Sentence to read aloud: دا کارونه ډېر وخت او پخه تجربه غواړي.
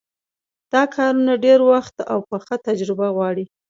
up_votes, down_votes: 2, 0